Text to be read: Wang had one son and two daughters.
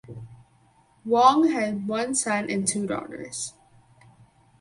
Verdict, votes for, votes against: rejected, 2, 2